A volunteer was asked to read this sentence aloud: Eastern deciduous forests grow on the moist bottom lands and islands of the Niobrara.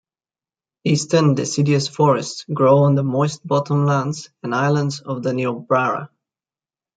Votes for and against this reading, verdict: 2, 0, accepted